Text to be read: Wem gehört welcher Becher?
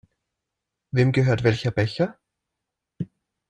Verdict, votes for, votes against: accepted, 2, 0